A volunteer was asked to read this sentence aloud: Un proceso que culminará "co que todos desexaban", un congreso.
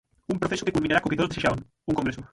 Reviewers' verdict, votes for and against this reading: rejected, 0, 6